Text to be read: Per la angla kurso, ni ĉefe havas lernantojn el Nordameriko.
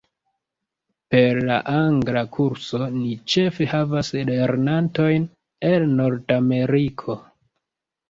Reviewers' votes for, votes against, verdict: 1, 2, rejected